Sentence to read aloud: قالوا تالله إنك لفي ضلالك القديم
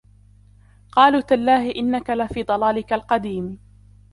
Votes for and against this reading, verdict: 1, 2, rejected